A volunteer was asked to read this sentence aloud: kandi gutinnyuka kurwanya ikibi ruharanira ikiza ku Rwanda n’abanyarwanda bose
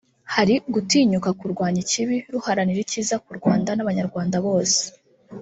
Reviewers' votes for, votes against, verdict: 1, 2, rejected